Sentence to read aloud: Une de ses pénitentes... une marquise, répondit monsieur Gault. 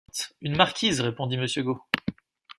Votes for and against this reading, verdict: 1, 2, rejected